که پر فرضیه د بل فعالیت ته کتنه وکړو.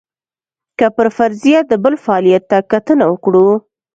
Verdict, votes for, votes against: accepted, 2, 0